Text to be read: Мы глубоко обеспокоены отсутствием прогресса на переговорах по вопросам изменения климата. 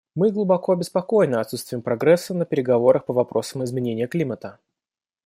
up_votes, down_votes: 2, 0